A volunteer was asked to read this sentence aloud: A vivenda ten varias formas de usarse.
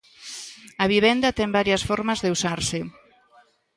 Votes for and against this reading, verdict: 2, 0, accepted